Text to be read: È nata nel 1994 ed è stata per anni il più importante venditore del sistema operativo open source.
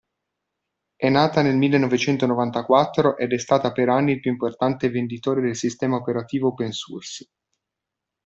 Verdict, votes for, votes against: rejected, 0, 2